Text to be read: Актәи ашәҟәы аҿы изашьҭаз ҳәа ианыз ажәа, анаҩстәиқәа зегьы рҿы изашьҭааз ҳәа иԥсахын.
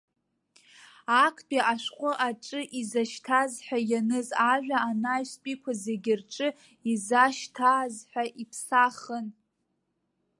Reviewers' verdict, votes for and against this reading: accepted, 2, 0